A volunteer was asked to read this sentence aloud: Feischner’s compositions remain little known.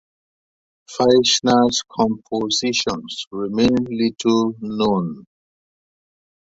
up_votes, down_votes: 2, 1